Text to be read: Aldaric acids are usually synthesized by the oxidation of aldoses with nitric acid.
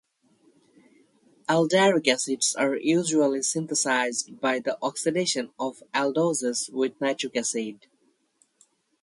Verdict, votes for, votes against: accepted, 4, 0